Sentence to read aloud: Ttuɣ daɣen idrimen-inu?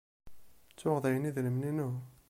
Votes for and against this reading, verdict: 1, 2, rejected